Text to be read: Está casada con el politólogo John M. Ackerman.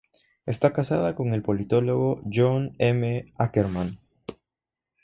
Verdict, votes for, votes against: accepted, 3, 0